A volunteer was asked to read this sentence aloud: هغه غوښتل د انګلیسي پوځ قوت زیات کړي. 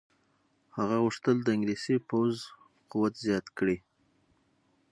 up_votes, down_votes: 6, 0